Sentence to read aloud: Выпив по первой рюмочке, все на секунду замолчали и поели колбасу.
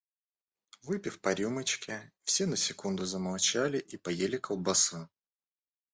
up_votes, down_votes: 0, 2